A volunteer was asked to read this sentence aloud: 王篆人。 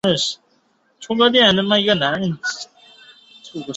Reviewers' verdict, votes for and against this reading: rejected, 1, 2